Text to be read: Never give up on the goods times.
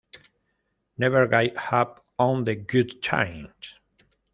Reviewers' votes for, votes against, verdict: 1, 2, rejected